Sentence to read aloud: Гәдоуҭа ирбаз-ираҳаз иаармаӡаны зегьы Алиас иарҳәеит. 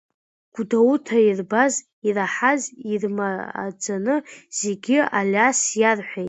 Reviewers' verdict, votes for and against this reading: rejected, 1, 2